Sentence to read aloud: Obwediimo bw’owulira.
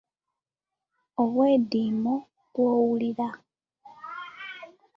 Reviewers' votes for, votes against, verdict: 2, 0, accepted